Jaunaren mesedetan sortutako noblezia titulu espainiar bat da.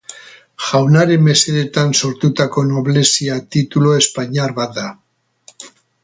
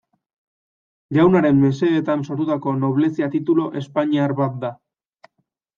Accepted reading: second